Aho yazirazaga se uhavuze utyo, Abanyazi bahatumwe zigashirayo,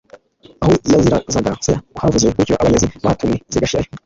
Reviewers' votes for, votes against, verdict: 2, 0, accepted